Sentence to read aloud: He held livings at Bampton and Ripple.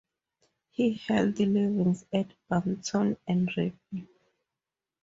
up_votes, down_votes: 2, 2